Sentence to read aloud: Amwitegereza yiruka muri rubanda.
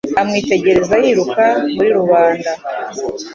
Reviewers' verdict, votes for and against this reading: accepted, 3, 0